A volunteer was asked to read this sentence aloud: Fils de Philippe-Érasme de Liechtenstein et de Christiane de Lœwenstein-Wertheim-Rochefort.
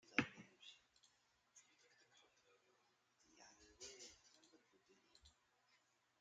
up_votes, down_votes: 0, 2